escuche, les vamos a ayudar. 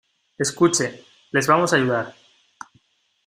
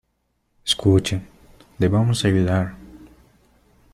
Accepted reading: first